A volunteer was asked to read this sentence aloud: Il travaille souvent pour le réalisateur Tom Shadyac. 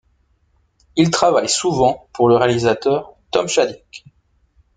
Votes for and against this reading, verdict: 1, 2, rejected